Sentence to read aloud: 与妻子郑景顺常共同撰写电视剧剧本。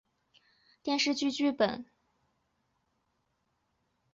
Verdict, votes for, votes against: rejected, 2, 3